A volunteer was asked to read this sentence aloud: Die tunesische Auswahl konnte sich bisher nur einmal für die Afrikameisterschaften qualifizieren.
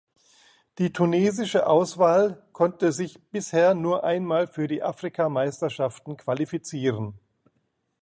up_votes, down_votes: 2, 0